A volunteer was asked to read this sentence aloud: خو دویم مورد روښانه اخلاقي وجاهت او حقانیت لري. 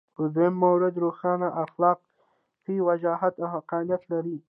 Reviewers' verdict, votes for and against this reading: accepted, 2, 0